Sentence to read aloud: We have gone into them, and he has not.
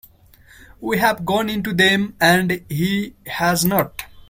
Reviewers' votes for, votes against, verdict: 2, 0, accepted